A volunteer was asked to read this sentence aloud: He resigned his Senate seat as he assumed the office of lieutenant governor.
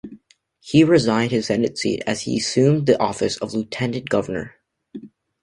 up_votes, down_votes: 2, 0